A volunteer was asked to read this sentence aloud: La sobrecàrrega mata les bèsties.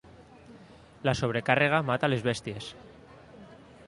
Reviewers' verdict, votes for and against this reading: accepted, 2, 0